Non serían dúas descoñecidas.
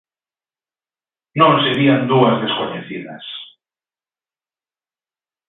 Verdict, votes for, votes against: accepted, 2, 1